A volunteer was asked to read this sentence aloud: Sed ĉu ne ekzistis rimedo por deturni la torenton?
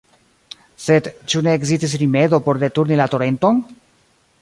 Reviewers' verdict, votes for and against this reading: rejected, 0, 2